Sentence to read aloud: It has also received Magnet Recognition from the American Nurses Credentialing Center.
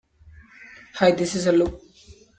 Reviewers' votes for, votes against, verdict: 0, 2, rejected